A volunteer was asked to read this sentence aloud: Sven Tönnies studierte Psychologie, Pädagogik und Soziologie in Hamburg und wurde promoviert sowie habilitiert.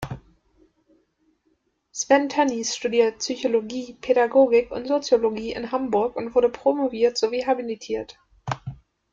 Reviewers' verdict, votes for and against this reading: rejected, 1, 2